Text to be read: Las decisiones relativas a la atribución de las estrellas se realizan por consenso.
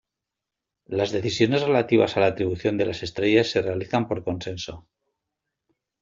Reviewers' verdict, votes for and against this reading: accepted, 2, 0